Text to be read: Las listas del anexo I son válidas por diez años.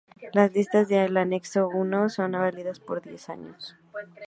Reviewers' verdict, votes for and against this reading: rejected, 0, 2